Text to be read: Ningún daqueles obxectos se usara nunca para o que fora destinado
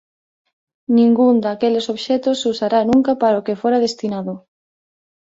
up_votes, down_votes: 1, 2